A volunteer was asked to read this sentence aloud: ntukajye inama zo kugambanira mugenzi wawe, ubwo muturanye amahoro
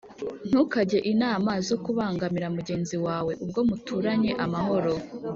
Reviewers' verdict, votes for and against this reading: rejected, 1, 2